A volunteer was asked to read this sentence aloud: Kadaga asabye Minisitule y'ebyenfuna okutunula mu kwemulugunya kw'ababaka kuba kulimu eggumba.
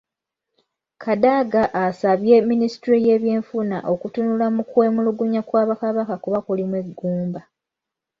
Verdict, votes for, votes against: rejected, 0, 2